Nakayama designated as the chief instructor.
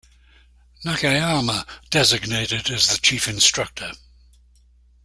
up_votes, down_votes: 2, 0